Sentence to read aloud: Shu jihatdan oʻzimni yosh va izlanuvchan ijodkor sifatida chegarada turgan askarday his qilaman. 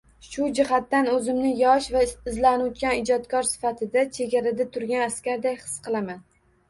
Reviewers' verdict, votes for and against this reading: accepted, 2, 1